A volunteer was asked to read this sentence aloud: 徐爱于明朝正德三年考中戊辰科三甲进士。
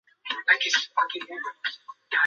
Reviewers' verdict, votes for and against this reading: rejected, 0, 2